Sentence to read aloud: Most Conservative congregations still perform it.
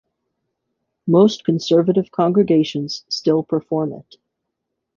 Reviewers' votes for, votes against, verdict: 2, 0, accepted